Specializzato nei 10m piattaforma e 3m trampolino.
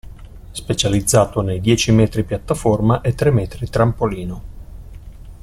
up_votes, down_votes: 0, 2